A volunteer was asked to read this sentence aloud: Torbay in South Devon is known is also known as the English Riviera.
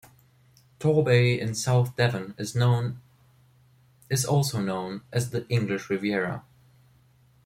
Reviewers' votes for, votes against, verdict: 1, 2, rejected